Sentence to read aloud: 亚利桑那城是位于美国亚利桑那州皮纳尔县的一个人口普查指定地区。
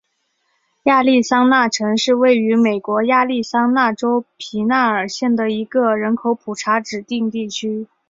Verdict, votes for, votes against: accepted, 2, 0